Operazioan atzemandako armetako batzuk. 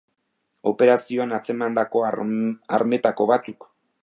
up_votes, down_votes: 1, 2